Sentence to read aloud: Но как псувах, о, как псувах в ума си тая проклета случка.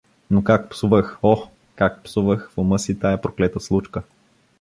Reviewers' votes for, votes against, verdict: 2, 0, accepted